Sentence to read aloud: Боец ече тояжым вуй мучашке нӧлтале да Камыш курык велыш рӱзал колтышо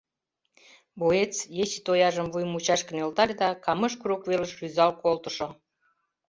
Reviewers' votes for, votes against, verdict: 2, 0, accepted